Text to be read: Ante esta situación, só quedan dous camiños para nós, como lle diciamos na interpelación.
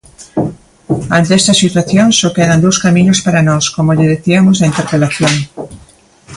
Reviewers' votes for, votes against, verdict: 2, 0, accepted